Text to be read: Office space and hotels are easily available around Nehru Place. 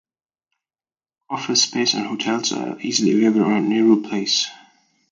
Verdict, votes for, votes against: accepted, 2, 0